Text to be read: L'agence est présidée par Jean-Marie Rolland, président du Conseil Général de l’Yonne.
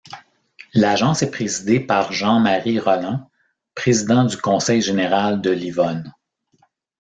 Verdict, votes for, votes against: rejected, 0, 2